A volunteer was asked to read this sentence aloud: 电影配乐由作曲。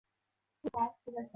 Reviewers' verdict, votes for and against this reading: rejected, 0, 2